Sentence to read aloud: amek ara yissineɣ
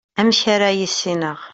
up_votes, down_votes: 2, 0